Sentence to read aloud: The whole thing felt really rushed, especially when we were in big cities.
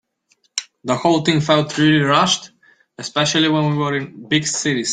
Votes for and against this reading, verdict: 2, 1, accepted